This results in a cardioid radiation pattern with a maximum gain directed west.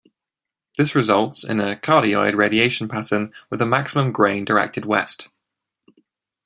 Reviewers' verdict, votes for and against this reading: rejected, 1, 2